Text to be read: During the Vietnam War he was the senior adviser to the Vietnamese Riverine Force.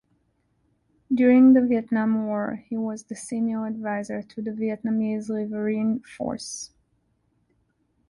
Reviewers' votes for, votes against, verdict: 2, 0, accepted